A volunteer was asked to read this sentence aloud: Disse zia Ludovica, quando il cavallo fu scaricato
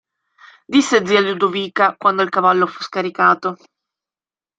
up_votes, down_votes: 2, 1